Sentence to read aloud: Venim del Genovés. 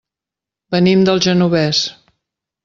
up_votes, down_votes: 1, 3